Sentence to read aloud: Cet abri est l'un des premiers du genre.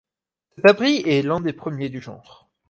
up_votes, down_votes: 4, 2